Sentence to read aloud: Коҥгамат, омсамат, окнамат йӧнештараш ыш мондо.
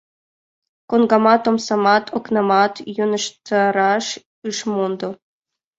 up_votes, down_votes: 1, 2